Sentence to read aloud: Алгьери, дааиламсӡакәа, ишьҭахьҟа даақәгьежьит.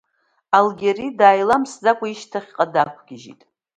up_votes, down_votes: 2, 0